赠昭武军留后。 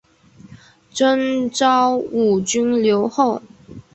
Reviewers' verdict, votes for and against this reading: accepted, 4, 0